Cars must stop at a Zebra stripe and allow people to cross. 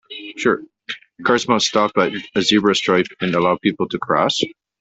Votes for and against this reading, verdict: 0, 2, rejected